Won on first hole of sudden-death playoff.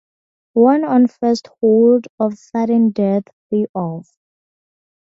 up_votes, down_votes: 0, 2